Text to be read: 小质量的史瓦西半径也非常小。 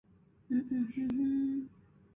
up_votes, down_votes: 0, 5